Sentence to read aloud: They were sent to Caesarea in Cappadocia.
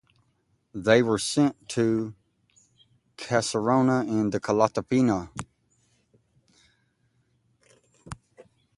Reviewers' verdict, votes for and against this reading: rejected, 0, 2